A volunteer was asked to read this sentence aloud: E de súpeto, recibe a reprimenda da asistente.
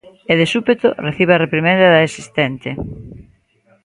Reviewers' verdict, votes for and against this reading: rejected, 1, 2